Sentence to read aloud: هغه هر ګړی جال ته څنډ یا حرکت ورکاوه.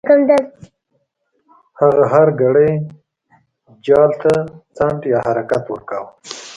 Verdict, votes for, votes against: rejected, 0, 2